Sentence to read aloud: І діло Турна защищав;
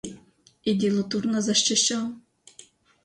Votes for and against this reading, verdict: 0, 2, rejected